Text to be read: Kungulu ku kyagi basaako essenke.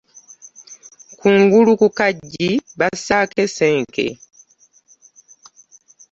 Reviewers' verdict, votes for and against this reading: rejected, 1, 2